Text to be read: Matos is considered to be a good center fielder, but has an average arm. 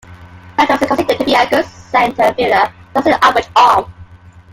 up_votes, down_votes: 0, 2